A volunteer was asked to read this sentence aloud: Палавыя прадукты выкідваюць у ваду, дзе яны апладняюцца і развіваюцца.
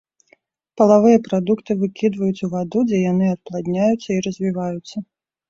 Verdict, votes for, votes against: accepted, 2, 0